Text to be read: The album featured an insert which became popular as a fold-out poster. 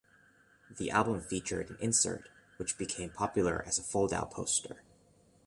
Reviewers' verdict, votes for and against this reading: accepted, 2, 0